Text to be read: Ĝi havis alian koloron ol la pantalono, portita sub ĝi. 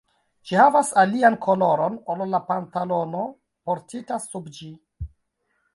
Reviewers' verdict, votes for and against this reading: rejected, 1, 2